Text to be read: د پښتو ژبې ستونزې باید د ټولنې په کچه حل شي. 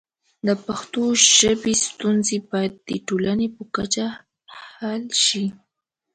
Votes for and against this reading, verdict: 2, 0, accepted